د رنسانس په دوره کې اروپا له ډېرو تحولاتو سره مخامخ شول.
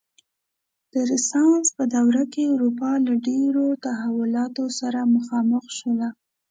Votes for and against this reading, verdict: 2, 0, accepted